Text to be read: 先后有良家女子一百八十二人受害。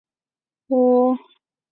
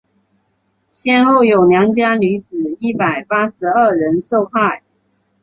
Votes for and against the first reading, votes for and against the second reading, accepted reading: 0, 3, 3, 1, second